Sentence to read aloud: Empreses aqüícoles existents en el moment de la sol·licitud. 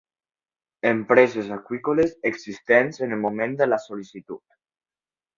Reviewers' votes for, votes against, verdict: 2, 0, accepted